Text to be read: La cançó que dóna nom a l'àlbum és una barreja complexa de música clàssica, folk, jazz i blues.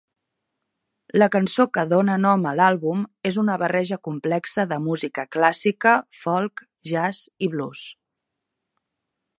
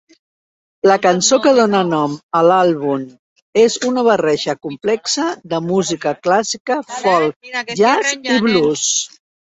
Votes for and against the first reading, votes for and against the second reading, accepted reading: 5, 0, 0, 2, first